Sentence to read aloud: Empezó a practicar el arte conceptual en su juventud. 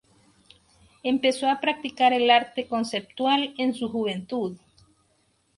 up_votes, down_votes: 2, 0